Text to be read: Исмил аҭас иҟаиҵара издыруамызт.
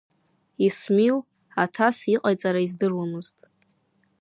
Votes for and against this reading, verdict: 1, 2, rejected